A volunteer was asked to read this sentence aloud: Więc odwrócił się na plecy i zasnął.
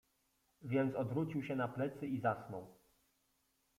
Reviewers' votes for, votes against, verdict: 2, 0, accepted